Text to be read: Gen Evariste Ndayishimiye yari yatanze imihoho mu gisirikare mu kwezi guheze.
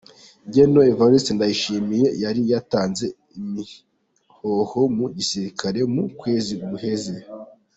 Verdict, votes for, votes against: accepted, 2, 1